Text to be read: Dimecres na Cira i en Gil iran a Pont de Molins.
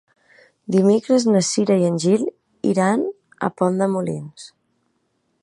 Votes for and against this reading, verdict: 2, 0, accepted